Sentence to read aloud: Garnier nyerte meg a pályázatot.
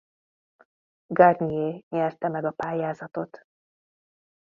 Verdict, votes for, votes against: accepted, 2, 0